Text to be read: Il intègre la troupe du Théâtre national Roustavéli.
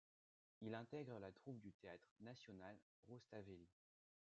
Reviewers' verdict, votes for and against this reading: rejected, 1, 2